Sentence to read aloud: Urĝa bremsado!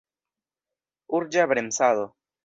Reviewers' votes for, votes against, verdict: 1, 2, rejected